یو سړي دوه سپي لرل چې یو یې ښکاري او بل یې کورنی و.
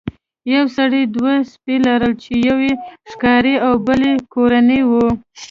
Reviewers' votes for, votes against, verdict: 3, 0, accepted